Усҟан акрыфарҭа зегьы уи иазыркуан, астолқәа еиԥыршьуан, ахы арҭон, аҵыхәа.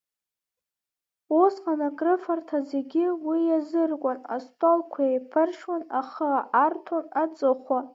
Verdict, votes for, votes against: rejected, 0, 2